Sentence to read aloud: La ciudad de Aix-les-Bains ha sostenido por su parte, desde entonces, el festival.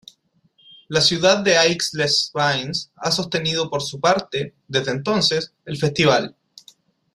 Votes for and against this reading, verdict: 1, 2, rejected